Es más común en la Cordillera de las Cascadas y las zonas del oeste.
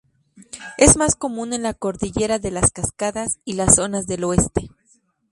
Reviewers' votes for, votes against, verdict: 2, 0, accepted